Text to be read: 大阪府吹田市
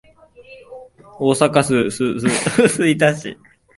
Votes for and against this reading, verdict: 1, 2, rejected